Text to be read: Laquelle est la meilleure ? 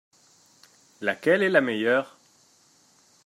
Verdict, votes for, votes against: accepted, 2, 0